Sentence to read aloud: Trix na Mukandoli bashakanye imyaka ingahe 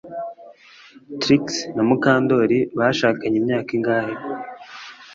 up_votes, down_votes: 2, 0